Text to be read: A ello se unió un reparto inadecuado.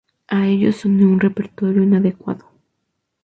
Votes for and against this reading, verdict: 0, 4, rejected